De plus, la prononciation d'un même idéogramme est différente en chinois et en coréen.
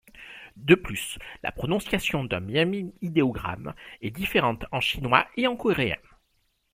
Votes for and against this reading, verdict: 1, 2, rejected